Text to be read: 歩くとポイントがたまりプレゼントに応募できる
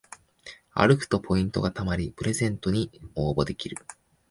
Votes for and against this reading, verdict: 3, 0, accepted